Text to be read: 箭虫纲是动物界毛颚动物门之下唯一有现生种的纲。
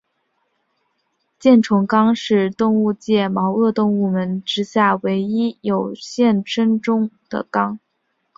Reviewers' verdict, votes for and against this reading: accepted, 4, 1